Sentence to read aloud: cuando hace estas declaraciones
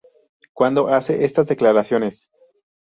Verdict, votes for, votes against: accepted, 2, 0